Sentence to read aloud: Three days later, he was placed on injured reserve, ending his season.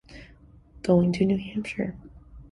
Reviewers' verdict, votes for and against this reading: rejected, 0, 2